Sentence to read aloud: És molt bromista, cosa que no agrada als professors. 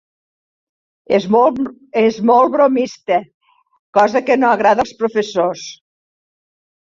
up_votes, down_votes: 0, 2